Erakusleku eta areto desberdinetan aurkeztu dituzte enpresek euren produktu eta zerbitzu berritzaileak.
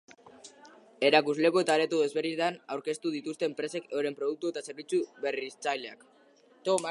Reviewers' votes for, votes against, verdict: 0, 2, rejected